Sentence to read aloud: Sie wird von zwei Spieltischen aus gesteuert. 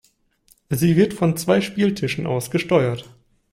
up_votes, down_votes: 2, 0